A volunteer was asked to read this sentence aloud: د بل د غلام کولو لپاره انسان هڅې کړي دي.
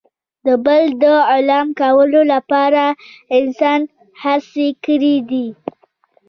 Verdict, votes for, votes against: rejected, 1, 2